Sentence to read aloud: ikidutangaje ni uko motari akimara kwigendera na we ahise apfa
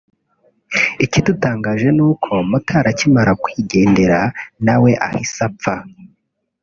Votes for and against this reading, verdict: 2, 1, accepted